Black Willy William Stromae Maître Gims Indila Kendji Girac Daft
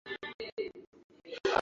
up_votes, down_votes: 0, 2